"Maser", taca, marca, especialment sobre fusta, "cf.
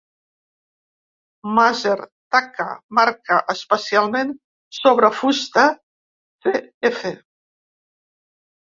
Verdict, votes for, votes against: rejected, 1, 2